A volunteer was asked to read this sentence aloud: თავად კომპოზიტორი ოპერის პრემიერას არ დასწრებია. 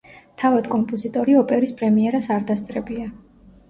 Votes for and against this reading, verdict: 2, 0, accepted